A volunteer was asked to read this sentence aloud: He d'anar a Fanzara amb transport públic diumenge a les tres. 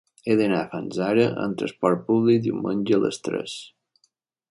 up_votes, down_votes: 0, 2